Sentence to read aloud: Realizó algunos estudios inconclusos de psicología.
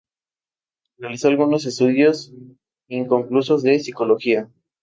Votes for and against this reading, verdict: 2, 0, accepted